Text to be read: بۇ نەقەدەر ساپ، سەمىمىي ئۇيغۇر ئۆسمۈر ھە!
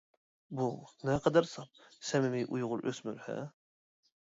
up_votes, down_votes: 2, 0